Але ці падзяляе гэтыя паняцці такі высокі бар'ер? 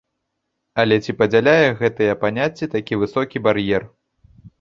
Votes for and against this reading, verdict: 2, 0, accepted